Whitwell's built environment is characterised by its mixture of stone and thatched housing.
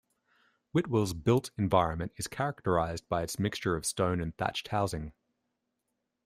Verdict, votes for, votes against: accepted, 2, 0